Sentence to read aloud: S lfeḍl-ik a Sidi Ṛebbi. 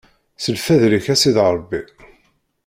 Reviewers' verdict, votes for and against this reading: rejected, 0, 2